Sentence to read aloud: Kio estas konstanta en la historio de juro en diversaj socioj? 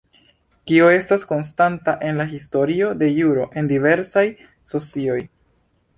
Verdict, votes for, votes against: accepted, 2, 0